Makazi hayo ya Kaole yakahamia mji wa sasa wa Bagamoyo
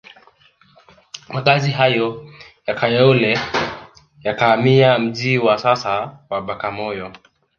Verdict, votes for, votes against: rejected, 1, 2